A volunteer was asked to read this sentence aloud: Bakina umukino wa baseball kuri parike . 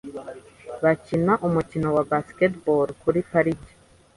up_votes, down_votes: 3, 0